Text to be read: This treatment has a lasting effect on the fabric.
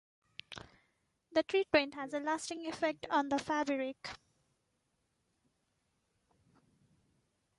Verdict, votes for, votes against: rejected, 0, 3